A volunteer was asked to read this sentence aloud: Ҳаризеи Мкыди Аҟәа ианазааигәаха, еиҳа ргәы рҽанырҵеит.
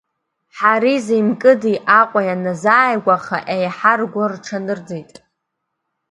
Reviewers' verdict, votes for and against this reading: accepted, 3, 0